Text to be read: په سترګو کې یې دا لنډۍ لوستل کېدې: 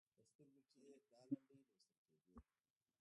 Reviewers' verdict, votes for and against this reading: rejected, 0, 2